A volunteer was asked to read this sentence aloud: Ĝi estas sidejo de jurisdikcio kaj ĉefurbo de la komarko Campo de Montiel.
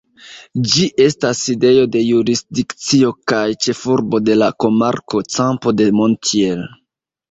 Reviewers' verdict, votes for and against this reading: rejected, 1, 2